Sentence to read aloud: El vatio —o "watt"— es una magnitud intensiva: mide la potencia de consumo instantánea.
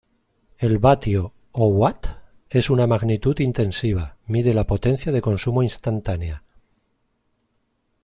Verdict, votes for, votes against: accepted, 2, 0